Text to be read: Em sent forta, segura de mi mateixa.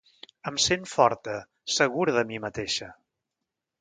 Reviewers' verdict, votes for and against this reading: accepted, 3, 0